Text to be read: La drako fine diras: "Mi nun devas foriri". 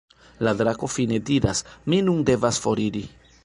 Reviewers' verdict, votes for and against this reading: accepted, 2, 1